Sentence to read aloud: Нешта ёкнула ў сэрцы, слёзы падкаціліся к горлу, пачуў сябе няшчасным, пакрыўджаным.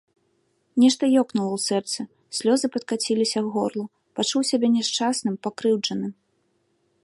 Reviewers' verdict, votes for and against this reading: accepted, 2, 0